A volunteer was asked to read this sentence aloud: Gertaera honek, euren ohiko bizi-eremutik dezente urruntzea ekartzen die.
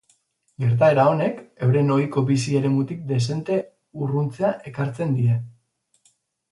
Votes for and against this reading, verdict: 6, 0, accepted